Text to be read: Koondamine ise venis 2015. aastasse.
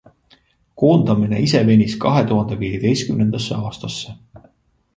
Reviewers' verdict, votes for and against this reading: rejected, 0, 2